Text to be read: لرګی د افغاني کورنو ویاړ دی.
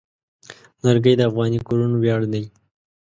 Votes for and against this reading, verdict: 2, 0, accepted